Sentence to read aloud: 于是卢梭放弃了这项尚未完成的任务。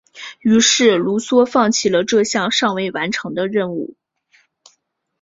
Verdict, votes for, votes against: accepted, 2, 0